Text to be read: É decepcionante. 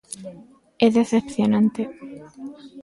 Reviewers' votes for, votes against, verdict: 2, 0, accepted